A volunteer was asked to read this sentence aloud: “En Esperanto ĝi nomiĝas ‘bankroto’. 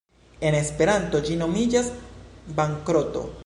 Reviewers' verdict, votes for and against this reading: rejected, 1, 2